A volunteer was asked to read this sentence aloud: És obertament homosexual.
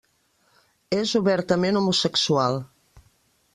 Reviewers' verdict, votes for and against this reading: accepted, 3, 0